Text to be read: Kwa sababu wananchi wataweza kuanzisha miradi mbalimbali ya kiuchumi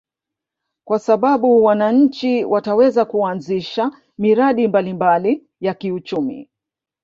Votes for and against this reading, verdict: 1, 2, rejected